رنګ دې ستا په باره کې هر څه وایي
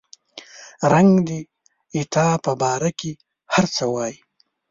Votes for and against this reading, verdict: 1, 2, rejected